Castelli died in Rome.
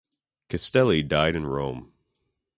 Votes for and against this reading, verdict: 2, 0, accepted